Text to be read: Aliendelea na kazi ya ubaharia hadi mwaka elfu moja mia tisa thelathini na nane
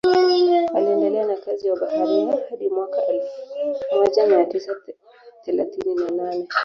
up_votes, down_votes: 1, 2